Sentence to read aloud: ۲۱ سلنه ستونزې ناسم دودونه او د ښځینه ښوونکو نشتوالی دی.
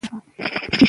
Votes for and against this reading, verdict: 0, 2, rejected